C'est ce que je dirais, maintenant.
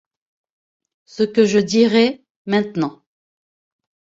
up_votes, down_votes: 0, 2